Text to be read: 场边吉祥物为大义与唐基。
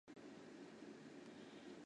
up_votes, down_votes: 0, 2